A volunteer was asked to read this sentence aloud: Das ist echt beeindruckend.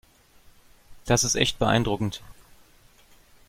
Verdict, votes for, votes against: accepted, 2, 0